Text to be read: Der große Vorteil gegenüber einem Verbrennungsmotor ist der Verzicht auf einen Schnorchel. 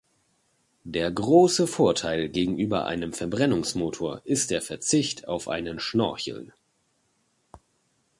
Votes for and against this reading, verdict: 2, 0, accepted